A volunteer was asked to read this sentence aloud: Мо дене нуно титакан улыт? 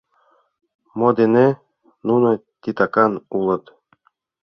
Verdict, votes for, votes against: accepted, 2, 0